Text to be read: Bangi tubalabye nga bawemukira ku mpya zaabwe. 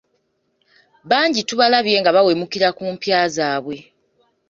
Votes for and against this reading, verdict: 3, 0, accepted